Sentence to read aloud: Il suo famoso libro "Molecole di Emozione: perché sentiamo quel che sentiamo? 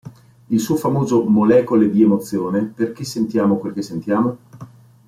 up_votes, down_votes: 0, 2